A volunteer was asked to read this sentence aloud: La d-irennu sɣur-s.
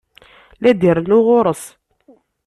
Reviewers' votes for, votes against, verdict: 1, 2, rejected